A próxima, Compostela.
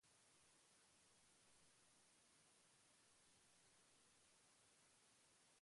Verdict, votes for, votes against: rejected, 0, 2